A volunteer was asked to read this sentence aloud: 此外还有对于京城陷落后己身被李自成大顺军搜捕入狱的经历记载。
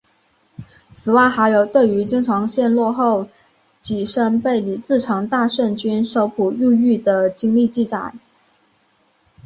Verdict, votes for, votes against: accepted, 4, 0